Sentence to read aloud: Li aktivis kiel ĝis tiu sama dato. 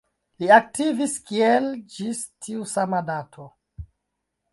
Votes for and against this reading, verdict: 0, 2, rejected